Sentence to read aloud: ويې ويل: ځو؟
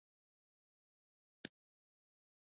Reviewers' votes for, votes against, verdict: 0, 2, rejected